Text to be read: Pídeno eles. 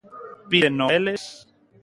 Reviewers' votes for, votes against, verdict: 1, 2, rejected